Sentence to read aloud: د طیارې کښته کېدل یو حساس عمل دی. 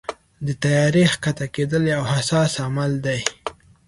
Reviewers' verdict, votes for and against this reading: accepted, 2, 0